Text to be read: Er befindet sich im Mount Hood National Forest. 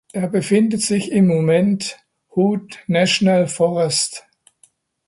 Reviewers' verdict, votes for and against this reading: rejected, 0, 2